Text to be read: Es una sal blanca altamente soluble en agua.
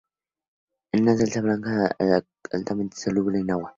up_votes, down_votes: 0, 2